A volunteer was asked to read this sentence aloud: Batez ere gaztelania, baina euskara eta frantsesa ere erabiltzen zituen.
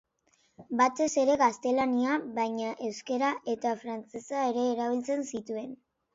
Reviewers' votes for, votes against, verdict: 2, 1, accepted